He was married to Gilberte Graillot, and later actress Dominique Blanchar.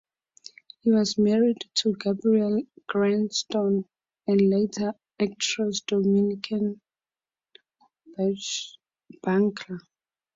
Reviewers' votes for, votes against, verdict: 2, 0, accepted